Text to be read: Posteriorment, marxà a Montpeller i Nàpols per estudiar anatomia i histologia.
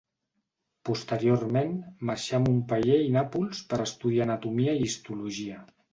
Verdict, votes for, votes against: accepted, 2, 0